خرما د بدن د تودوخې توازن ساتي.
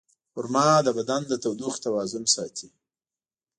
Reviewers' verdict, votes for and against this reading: accepted, 2, 0